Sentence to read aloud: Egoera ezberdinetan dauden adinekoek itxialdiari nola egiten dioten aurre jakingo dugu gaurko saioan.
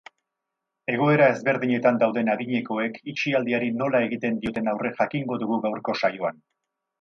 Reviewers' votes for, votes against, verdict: 2, 2, rejected